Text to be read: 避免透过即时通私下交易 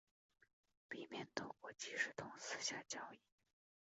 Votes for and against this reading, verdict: 1, 2, rejected